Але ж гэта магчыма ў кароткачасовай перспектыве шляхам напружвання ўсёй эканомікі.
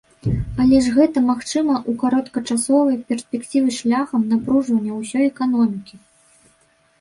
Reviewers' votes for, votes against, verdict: 2, 3, rejected